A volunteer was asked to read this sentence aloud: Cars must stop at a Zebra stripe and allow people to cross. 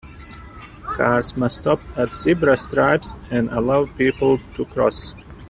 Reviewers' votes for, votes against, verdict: 1, 2, rejected